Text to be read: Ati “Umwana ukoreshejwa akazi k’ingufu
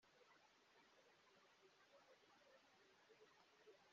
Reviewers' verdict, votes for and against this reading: rejected, 0, 2